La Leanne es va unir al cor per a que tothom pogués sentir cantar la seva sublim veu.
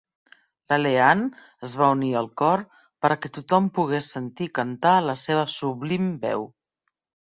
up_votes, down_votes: 2, 1